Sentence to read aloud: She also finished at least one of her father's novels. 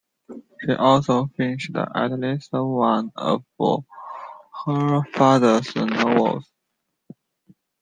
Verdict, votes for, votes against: rejected, 0, 2